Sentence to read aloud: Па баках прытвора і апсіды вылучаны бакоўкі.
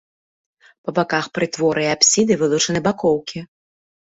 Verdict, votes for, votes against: accepted, 2, 0